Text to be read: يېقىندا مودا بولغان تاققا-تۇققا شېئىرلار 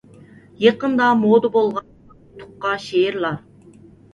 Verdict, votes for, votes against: rejected, 1, 2